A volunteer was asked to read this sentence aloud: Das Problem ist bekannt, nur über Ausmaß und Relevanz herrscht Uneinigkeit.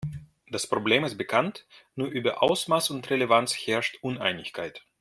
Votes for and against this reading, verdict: 1, 2, rejected